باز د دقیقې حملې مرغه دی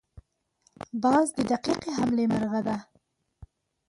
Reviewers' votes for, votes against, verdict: 2, 0, accepted